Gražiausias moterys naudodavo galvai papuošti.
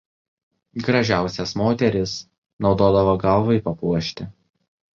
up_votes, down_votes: 2, 0